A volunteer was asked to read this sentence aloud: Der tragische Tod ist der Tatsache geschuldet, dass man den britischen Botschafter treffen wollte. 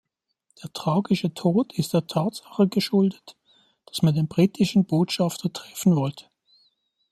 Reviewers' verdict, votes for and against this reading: accepted, 2, 1